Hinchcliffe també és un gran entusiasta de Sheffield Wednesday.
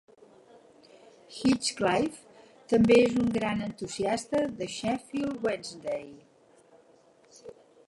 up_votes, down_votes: 0, 4